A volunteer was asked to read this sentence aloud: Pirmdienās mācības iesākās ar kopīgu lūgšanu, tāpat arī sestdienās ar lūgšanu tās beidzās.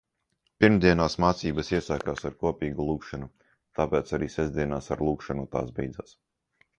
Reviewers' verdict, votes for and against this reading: rejected, 0, 2